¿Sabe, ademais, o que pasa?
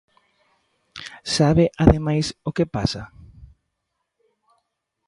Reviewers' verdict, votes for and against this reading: accepted, 2, 0